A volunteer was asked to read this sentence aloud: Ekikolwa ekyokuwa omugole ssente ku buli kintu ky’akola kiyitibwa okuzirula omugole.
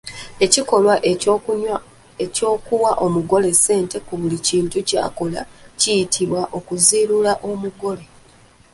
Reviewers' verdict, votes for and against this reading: rejected, 1, 2